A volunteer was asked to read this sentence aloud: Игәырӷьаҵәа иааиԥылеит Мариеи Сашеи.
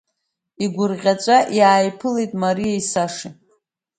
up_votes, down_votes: 2, 1